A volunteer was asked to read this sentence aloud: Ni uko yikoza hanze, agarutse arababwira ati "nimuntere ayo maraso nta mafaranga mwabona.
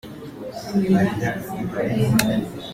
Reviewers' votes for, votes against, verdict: 0, 2, rejected